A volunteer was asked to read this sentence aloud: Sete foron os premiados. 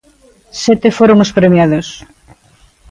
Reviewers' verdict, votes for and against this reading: accepted, 2, 0